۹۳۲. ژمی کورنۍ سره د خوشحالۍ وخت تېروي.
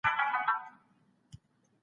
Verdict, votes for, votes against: rejected, 0, 2